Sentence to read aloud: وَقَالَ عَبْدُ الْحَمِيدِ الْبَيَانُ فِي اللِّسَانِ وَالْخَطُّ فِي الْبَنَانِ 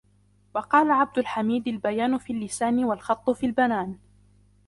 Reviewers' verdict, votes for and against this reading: accepted, 2, 0